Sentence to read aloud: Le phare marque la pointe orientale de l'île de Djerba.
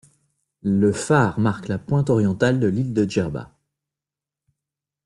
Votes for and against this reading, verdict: 2, 0, accepted